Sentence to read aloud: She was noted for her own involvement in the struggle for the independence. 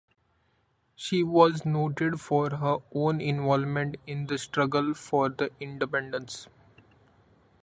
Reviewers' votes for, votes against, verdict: 2, 0, accepted